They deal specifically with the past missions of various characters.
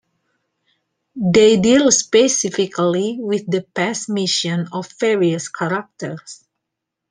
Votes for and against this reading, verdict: 1, 2, rejected